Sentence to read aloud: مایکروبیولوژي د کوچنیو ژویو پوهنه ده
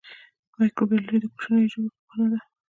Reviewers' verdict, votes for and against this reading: rejected, 1, 2